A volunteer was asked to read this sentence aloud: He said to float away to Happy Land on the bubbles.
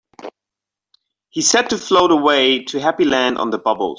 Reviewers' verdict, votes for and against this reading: accepted, 5, 3